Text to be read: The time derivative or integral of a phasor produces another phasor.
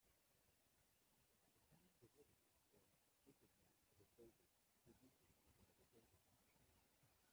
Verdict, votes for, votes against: rejected, 0, 2